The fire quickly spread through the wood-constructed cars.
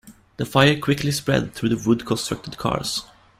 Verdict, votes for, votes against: rejected, 1, 2